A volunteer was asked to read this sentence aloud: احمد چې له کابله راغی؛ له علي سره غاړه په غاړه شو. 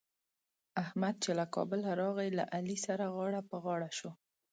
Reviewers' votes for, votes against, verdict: 3, 0, accepted